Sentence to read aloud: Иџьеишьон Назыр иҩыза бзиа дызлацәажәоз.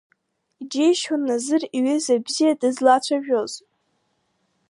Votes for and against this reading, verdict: 1, 3, rejected